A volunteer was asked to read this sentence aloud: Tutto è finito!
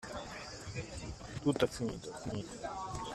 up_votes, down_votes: 1, 2